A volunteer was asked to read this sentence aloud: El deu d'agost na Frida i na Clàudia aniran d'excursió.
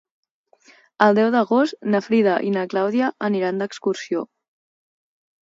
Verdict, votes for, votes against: accepted, 2, 0